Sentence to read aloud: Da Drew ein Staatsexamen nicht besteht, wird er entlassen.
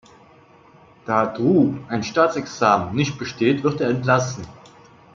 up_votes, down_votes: 2, 0